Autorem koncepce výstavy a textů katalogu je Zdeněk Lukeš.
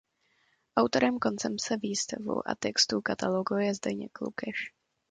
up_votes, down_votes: 0, 2